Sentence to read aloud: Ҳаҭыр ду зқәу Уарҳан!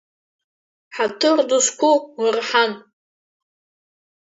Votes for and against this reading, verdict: 1, 2, rejected